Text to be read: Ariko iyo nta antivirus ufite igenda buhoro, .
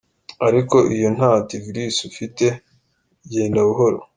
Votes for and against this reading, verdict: 3, 2, accepted